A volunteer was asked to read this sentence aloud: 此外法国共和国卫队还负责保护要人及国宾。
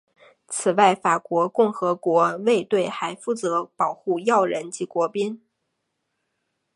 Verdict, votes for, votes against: accepted, 4, 0